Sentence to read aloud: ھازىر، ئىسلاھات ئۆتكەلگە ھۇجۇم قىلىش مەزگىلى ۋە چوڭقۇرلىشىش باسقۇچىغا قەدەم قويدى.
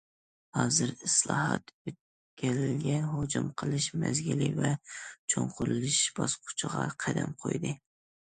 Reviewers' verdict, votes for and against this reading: accepted, 2, 0